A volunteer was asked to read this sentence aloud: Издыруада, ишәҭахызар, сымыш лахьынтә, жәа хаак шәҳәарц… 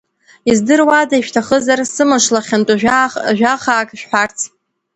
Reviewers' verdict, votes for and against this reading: rejected, 1, 2